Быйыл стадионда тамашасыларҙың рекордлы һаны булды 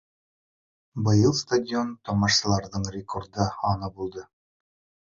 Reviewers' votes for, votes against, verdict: 1, 3, rejected